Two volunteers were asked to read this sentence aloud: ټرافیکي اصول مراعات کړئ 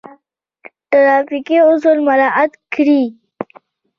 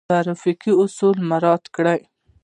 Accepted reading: first